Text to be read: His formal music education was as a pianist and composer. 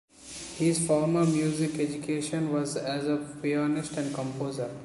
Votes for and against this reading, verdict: 2, 0, accepted